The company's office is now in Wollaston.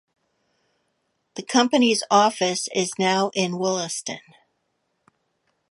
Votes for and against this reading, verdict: 2, 0, accepted